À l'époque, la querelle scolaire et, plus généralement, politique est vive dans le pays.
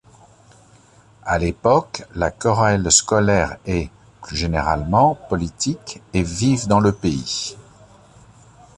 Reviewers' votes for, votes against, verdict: 0, 2, rejected